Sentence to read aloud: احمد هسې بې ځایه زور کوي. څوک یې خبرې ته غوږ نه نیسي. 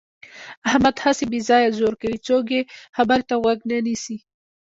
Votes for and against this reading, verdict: 1, 2, rejected